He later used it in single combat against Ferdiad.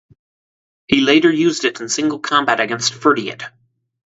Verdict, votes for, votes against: rejected, 0, 4